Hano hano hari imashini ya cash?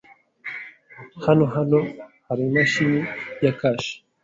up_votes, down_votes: 2, 0